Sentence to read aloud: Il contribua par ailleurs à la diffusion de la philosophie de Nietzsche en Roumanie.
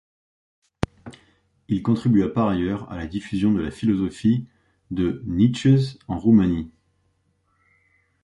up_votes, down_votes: 0, 2